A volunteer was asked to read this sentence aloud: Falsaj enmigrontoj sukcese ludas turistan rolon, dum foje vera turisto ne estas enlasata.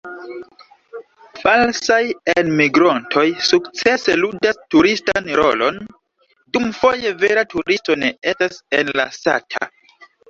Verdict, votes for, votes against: rejected, 1, 2